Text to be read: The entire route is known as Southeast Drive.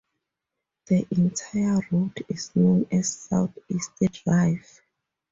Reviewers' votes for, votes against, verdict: 2, 0, accepted